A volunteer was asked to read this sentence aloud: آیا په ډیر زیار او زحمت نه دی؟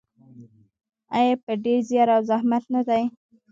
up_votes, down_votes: 0, 2